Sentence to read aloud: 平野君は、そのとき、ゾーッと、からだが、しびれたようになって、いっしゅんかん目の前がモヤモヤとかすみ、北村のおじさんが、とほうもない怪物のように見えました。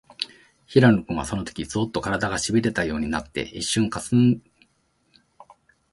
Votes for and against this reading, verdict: 0, 2, rejected